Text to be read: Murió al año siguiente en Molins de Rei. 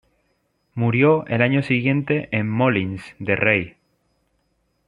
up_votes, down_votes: 2, 1